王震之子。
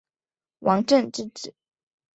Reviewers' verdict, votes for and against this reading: accepted, 4, 0